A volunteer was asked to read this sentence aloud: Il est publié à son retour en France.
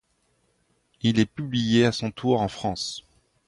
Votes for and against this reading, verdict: 0, 2, rejected